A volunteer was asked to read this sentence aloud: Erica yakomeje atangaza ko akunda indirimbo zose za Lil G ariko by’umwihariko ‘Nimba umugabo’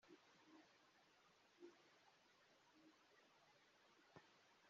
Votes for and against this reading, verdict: 0, 2, rejected